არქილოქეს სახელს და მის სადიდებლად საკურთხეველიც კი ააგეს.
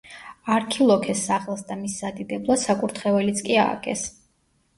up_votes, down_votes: 2, 0